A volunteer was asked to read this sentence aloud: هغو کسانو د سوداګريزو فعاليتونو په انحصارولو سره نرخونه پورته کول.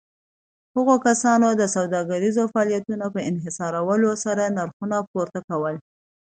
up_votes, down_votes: 2, 0